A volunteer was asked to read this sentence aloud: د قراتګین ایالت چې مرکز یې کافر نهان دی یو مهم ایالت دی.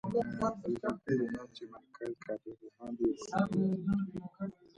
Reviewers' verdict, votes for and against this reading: rejected, 0, 2